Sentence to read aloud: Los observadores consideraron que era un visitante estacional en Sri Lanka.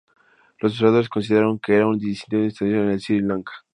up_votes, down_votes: 0, 2